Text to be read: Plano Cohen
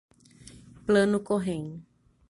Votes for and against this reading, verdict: 0, 3, rejected